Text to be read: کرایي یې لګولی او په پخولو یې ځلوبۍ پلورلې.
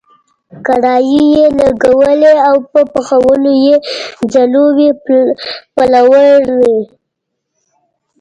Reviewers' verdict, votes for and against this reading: rejected, 1, 2